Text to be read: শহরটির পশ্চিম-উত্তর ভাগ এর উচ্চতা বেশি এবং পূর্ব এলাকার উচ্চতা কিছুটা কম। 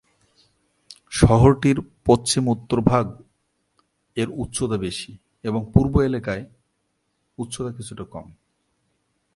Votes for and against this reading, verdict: 0, 2, rejected